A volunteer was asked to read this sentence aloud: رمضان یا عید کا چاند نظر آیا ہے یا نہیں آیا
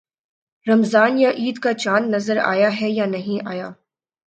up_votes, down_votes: 5, 0